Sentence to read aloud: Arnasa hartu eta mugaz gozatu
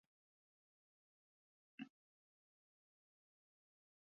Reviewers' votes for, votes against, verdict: 0, 2, rejected